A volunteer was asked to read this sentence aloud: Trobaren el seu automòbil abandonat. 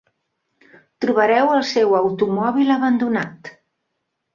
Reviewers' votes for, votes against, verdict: 0, 2, rejected